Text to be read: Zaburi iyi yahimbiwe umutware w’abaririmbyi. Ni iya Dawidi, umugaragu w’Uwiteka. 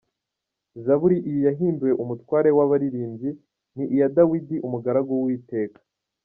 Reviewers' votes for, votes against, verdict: 2, 0, accepted